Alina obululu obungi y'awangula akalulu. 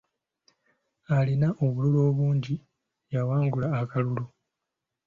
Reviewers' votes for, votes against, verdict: 2, 0, accepted